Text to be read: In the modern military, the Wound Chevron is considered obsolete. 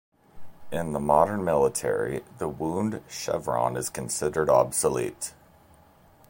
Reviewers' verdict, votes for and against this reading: accepted, 2, 1